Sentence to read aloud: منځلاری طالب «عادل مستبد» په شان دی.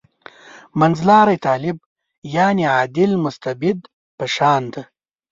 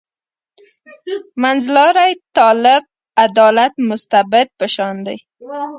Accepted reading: first